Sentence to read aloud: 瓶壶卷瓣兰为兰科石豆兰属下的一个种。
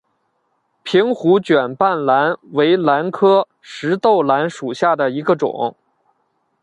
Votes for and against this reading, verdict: 2, 0, accepted